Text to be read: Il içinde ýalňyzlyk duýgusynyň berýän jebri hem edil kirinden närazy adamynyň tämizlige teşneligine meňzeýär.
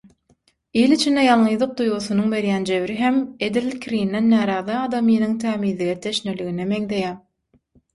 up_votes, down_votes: 0, 6